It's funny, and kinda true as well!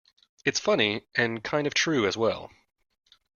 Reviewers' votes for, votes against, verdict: 0, 2, rejected